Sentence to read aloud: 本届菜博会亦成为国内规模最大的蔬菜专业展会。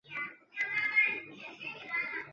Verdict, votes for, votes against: rejected, 2, 3